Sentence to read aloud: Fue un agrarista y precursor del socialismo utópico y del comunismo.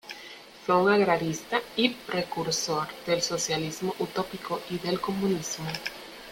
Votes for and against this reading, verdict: 2, 0, accepted